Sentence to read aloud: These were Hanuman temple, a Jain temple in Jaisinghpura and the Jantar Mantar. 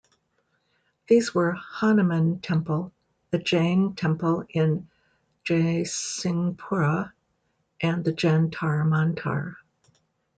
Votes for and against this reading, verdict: 0, 2, rejected